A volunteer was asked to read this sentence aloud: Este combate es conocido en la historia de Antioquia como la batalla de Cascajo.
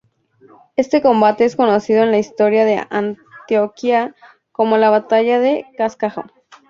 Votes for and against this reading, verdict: 2, 2, rejected